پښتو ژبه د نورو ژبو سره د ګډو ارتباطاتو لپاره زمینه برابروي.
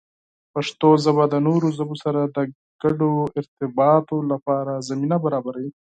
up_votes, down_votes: 0, 4